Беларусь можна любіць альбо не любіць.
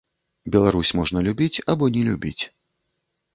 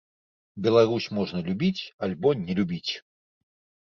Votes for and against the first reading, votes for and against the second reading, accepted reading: 1, 2, 2, 0, second